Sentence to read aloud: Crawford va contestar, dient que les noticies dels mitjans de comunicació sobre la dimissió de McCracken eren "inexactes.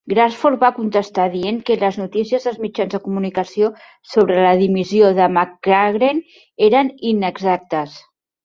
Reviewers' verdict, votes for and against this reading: rejected, 0, 2